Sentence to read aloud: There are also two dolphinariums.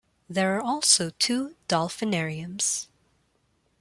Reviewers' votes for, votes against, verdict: 2, 0, accepted